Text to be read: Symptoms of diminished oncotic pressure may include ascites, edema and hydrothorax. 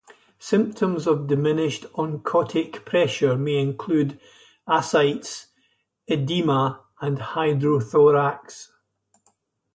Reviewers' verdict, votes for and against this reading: rejected, 0, 2